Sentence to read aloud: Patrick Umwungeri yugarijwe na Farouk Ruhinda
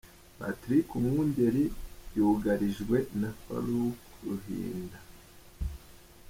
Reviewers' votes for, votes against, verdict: 2, 1, accepted